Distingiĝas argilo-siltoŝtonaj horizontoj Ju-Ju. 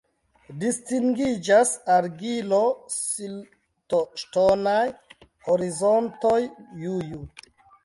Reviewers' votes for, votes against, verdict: 2, 1, accepted